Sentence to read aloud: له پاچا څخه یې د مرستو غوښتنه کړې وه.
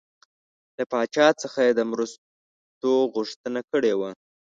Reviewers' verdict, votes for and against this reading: accepted, 2, 0